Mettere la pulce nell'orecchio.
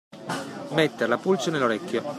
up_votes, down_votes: 0, 2